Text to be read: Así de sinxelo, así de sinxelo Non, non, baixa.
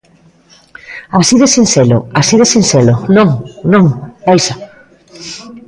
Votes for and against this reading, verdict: 0, 2, rejected